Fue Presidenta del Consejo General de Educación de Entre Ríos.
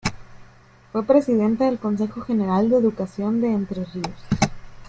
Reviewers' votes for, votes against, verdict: 2, 0, accepted